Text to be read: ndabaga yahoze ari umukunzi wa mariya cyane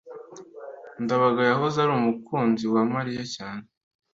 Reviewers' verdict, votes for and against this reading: accepted, 2, 0